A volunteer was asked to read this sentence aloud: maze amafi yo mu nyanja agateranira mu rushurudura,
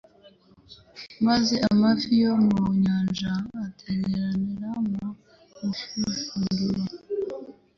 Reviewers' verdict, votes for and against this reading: rejected, 0, 2